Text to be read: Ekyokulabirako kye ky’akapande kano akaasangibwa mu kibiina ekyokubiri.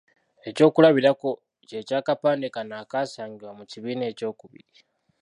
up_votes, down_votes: 2, 0